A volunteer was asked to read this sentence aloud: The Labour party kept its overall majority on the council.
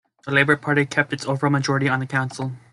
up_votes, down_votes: 2, 0